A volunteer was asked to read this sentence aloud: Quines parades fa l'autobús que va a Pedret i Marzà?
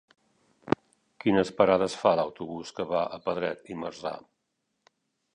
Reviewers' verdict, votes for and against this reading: accepted, 3, 0